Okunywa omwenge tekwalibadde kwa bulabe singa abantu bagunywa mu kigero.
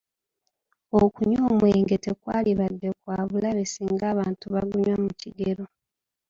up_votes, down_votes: 2, 0